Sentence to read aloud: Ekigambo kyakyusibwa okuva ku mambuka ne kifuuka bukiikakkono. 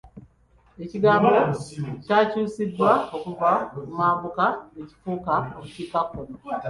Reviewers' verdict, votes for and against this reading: rejected, 0, 2